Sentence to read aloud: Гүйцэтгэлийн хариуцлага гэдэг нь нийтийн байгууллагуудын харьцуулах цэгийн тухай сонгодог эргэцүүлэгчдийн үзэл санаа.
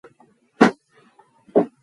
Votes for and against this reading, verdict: 2, 4, rejected